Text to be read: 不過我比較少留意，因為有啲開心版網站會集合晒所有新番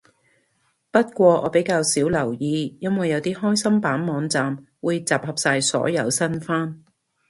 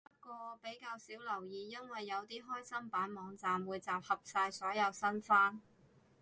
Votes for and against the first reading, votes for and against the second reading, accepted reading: 2, 0, 0, 2, first